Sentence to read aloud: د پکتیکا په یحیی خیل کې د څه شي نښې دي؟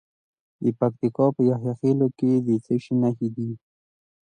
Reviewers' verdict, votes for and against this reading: accepted, 2, 0